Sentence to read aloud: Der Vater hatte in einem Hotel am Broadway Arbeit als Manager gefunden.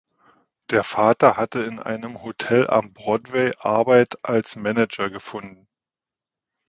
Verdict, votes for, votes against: accepted, 2, 0